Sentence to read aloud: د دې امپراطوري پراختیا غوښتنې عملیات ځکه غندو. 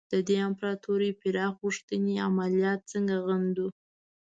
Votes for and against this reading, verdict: 0, 2, rejected